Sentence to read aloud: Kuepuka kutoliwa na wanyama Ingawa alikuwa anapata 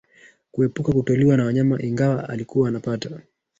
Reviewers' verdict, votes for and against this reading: rejected, 1, 2